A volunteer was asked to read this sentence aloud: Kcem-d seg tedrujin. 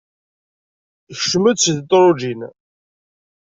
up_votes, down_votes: 1, 2